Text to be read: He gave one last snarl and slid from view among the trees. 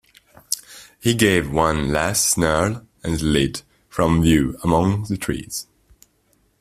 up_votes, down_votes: 1, 2